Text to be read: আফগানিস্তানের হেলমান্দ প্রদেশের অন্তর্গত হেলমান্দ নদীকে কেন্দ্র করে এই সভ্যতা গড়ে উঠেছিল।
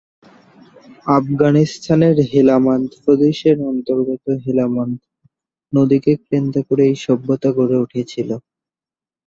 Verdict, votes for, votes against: rejected, 1, 2